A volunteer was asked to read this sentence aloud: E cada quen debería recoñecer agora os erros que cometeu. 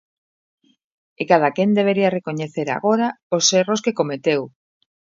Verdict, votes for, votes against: accepted, 2, 0